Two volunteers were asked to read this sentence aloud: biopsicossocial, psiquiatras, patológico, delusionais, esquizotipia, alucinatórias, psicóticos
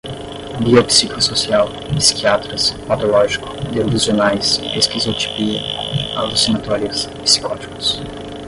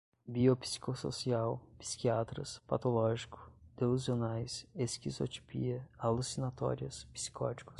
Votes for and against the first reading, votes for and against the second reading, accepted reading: 5, 10, 2, 0, second